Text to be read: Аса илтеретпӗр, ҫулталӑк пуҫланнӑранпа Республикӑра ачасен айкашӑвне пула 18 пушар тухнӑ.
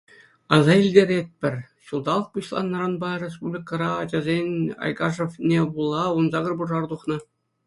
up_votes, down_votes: 0, 2